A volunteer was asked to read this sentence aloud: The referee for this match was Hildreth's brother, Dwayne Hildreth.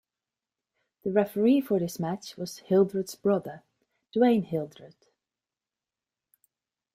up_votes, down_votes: 2, 0